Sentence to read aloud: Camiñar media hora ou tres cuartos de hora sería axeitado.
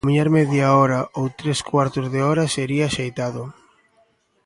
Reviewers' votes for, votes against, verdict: 2, 1, accepted